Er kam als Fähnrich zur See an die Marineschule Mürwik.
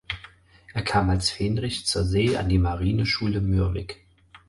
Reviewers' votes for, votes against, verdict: 4, 0, accepted